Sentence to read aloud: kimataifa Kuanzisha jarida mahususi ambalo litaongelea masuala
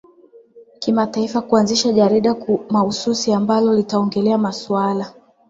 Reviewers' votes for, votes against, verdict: 7, 3, accepted